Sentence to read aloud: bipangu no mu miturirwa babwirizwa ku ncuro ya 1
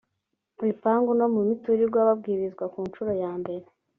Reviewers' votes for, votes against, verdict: 0, 2, rejected